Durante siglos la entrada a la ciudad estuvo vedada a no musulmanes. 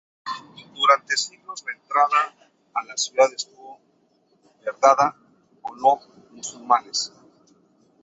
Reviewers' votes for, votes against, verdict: 0, 2, rejected